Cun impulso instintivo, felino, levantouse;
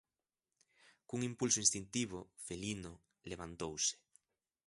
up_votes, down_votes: 2, 0